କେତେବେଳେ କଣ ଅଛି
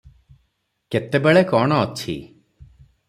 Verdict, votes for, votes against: accepted, 6, 0